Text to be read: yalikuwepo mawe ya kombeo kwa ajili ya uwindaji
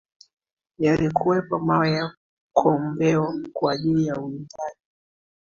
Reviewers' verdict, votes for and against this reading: rejected, 0, 2